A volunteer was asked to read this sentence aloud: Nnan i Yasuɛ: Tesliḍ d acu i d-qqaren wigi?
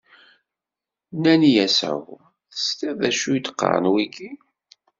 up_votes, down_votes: 1, 2